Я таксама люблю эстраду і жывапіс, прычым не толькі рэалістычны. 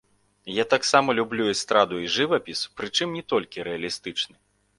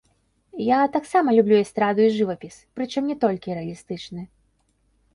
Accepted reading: first